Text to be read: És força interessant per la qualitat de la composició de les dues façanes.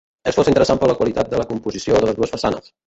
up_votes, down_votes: 0, 3